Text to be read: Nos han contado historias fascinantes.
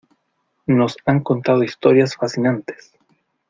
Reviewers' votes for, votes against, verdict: 2, 0, accepted